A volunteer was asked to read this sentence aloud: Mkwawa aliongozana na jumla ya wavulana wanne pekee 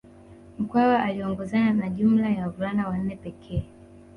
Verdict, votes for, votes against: accepted, 2, 1